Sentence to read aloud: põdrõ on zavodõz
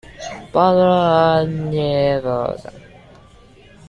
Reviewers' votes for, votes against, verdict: 1, 2, rejected